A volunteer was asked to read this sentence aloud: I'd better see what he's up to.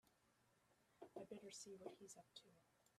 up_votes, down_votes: 0, 2